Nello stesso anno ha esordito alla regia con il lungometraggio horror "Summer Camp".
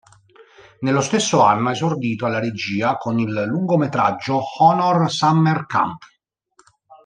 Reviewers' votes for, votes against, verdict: 1, 2, rejected